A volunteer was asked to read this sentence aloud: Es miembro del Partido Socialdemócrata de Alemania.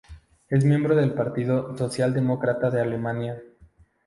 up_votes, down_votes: 0, 2